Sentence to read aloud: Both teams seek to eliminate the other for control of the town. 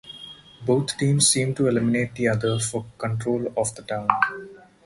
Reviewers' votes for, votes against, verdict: 2, 4, rejected